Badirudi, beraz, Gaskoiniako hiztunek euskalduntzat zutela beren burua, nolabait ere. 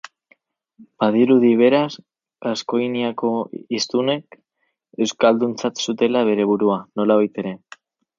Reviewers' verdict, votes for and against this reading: accepted, 6, 2